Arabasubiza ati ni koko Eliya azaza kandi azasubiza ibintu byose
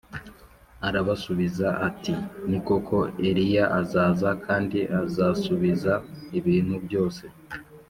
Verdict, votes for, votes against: accepted, 2, 0